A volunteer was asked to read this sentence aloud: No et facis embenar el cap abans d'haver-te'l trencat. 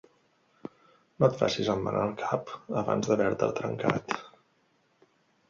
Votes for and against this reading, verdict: 2, 0, accepted